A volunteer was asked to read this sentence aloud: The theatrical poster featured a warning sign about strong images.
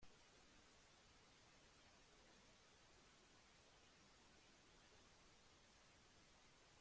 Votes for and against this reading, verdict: 1, 2, rejected